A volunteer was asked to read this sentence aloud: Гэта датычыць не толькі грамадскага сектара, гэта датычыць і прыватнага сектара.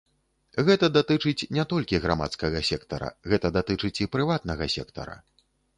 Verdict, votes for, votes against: accepted, 2, 0